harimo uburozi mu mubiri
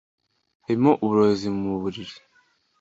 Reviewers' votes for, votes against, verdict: 0, 2, rejected